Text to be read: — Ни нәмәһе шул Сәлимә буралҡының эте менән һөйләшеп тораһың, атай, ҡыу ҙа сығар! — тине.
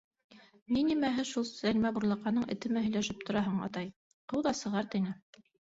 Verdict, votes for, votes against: rejected, 0, 2